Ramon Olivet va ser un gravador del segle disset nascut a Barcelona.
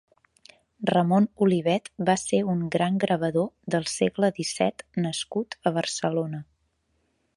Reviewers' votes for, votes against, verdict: 0, 2, rejected